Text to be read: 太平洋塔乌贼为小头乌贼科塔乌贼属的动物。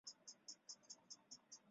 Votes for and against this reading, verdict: 0, 4, rejected